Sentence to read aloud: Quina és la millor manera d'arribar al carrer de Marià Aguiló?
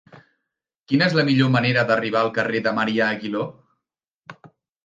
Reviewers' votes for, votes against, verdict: 3, 0, accepted